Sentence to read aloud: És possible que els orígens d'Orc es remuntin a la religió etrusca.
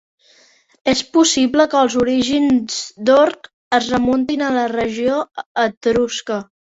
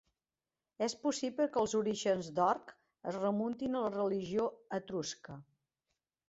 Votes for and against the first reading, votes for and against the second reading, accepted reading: 0, 4, 3, 0, second